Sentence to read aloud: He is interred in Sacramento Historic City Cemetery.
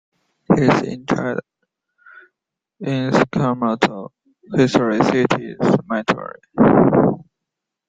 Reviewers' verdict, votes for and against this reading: rejected, 1, 2